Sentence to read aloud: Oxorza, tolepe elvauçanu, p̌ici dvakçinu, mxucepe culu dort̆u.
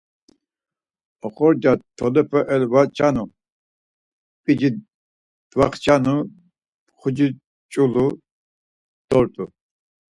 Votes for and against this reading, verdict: 2, 4, rejected